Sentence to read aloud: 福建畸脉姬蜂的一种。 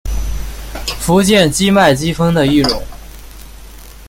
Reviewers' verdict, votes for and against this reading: accepted, 2, 1